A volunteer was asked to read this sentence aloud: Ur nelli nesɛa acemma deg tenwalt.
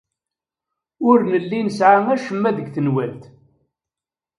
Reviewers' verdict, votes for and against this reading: accepted, 2, 0